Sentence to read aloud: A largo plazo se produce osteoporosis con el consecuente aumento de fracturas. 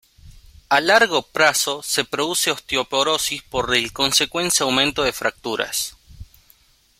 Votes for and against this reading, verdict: 0, 2, rejected